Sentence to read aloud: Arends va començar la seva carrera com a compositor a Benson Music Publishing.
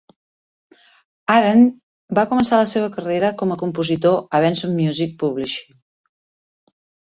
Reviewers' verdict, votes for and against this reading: rejected, 1, 3